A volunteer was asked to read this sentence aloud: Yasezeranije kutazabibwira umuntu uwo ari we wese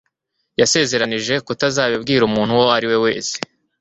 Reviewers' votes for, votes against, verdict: 2, 0, accepted